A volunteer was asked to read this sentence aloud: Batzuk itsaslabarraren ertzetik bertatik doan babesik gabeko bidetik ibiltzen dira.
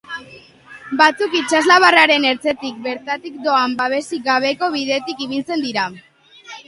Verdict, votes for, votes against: accepted, 3, 0